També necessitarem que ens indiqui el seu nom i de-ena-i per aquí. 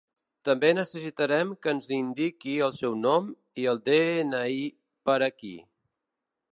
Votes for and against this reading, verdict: 1, 2, rejected